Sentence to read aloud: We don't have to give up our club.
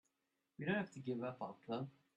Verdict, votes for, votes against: accepted, 2, 0